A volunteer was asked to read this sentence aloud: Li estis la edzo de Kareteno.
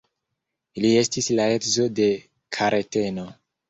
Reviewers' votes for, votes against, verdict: 2, 1, accepted